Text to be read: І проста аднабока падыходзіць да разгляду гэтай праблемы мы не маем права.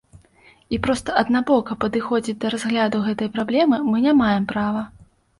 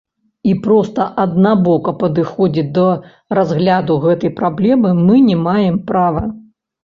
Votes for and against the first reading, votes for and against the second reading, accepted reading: 2, 0, 1, 2, first